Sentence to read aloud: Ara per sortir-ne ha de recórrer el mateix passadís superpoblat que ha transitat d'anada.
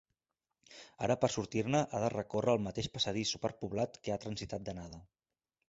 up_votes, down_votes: 3, 0